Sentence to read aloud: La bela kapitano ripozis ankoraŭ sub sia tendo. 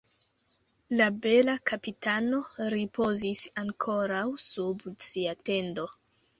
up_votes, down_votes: 2, 1